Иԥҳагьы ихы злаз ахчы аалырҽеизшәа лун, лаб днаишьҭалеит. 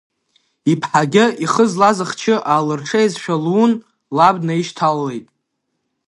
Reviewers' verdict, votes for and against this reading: rejected, 0, 2